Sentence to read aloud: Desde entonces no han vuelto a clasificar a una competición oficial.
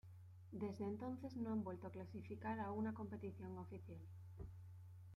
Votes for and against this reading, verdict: 2, 0, accepted